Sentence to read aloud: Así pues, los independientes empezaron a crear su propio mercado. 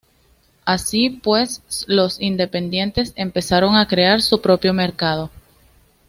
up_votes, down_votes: 2, 0